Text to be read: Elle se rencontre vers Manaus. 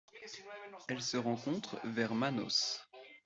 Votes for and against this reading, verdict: 2, 1, accepted